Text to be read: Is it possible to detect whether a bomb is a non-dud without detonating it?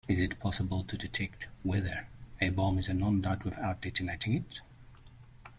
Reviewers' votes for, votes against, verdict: 2, 0, accepted